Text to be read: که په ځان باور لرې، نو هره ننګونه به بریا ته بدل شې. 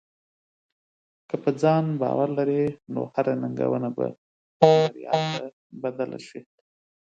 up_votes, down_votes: 0, 2